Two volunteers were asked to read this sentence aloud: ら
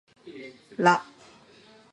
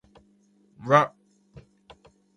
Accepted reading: first